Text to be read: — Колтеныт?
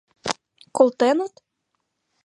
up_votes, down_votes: 2, 1